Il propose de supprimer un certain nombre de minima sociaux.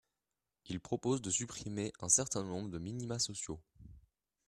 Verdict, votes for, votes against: accepted, 3, 0